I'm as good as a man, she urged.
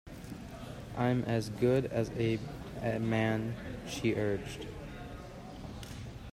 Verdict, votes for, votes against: rejected, 0, 2